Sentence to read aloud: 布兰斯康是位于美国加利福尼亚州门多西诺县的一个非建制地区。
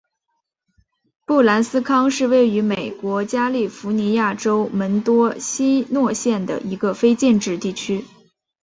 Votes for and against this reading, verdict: 3, 0, accepted